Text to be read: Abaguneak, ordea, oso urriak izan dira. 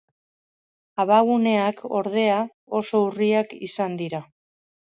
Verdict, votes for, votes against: accepted, 3, 0